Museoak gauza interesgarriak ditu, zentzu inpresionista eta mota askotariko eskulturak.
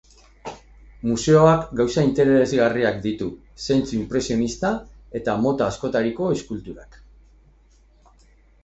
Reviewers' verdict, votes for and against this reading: accepted, 4, 0